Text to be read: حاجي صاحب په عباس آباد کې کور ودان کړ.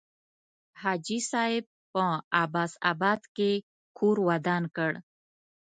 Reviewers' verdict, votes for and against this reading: accepted, 2, 0